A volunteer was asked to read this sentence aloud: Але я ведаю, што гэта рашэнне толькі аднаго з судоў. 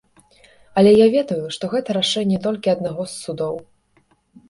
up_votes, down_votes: 2, 0